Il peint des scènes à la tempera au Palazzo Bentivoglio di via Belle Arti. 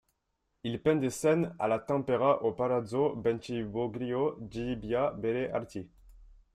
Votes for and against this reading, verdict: 0, 2, rejected